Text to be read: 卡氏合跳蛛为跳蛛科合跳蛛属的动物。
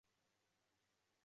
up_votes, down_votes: 0, 3